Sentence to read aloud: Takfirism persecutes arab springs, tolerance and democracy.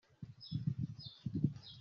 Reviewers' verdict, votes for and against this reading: rejected, 0, 2